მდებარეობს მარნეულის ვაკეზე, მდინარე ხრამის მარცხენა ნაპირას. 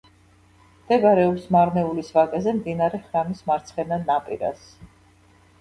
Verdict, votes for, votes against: rejected, 0, 2